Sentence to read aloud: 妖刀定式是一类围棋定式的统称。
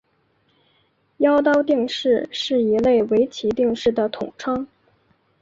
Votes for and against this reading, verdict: 2, 0, accepted